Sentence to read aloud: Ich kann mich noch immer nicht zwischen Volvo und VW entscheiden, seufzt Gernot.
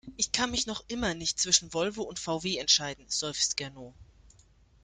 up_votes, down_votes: 2, 0